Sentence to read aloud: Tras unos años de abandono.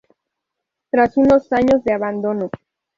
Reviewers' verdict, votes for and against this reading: rejected, 0, 2